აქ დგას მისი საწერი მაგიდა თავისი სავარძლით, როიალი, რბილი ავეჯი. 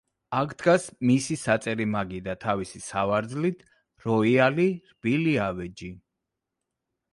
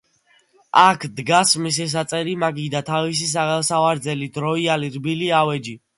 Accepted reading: first